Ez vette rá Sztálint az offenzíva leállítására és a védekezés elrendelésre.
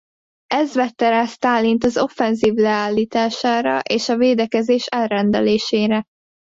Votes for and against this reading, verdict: 0, 2, rejected